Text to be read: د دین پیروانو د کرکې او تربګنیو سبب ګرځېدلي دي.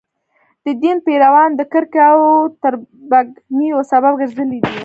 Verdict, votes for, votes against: accepted, 2, 0